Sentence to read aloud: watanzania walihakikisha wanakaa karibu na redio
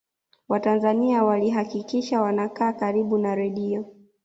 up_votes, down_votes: 2, 0